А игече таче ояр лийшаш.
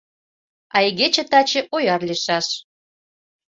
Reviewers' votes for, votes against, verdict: 2, 0, accepted